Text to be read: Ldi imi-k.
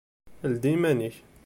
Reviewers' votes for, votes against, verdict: 1, 2, rejected